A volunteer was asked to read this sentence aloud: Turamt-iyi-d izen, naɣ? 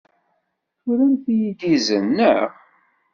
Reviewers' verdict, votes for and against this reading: rejected, 0, 2